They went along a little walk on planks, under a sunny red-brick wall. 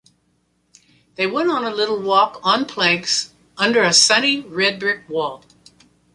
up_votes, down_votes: 1, 2